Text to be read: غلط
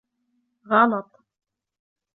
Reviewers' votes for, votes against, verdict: 2, 0, accepted